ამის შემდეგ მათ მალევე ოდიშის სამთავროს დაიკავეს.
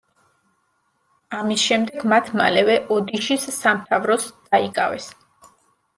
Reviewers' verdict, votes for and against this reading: rejected, 0, 2